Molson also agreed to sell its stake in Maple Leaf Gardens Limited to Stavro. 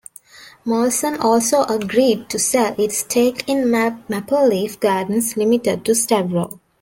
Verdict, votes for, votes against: rejected, 0, 2